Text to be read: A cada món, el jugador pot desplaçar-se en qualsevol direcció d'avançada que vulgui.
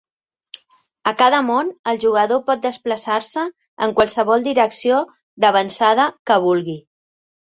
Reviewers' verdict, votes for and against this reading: accepted, 2, 1